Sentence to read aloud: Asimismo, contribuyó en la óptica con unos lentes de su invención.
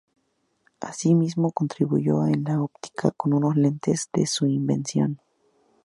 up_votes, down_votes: 0, 2